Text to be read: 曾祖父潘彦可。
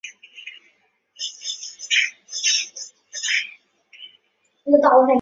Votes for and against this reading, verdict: 0, 2, rejected